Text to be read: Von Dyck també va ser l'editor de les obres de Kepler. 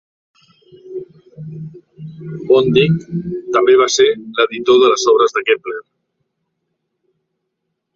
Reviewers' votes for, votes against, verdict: 0, 2, rejected